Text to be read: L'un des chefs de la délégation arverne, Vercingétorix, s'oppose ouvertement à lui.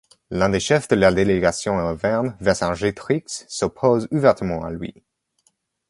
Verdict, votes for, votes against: rejected, 1, 2